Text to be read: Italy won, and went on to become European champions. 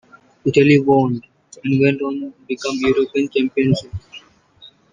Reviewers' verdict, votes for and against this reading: rejected, 1, 2